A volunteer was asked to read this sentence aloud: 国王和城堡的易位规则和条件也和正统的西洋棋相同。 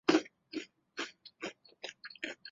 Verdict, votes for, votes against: rejected, 0, 3